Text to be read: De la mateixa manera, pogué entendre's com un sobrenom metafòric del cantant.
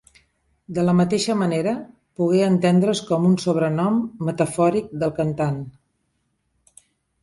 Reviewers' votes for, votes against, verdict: 2, 0, accepted